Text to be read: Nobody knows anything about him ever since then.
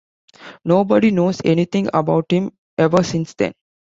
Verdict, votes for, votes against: accepted, 2, 0